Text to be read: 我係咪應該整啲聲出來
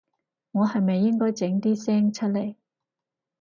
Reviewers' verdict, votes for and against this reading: accepted, 4, 0